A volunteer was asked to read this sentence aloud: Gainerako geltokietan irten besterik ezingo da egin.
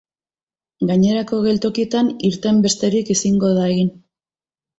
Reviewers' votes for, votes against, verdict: 2, 0, accepted